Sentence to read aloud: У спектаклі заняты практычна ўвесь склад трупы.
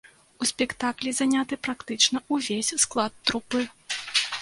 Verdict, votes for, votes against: rejected, 1, 2